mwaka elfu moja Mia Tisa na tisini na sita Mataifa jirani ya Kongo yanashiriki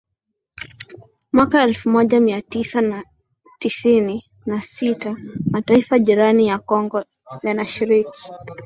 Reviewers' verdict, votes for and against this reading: accepted, 7, 0